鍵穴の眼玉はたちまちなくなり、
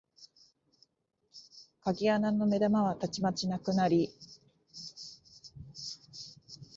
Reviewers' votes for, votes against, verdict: 2, 0, accepted